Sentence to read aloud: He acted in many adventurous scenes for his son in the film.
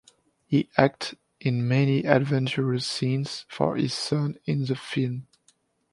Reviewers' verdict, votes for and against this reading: rejected, 1, 2